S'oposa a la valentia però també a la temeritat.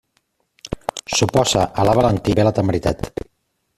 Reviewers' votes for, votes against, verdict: 0, 2, rejected